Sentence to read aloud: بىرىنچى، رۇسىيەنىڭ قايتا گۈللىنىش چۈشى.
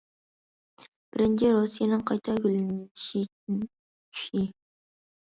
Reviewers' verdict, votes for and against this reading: rejected, 0, 2